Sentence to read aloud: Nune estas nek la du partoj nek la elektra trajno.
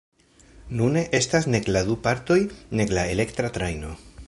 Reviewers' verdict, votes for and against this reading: accepted, 2, 0